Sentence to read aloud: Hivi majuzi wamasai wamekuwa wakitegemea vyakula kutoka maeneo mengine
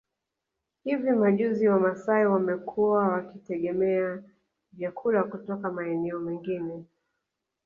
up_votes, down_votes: 2, 0